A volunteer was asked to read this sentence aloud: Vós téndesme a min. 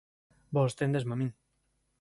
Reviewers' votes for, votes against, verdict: 2, 0, accepted